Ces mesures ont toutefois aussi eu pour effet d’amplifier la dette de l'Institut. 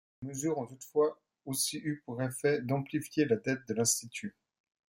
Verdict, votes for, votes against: rejected, 1, 2